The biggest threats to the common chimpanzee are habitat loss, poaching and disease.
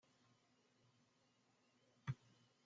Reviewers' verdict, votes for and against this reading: rejected, 0, 2